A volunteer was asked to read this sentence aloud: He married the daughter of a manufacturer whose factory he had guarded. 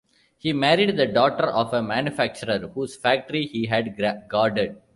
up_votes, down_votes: 1, 2